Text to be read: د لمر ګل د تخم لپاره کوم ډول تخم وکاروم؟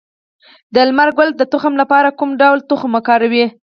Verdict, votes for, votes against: rejected, 2, 4